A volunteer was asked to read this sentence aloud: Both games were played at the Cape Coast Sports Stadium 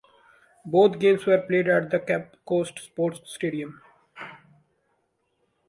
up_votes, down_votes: 0, 2